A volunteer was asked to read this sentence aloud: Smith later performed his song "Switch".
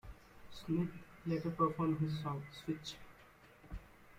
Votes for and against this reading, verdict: 2, 0, accepted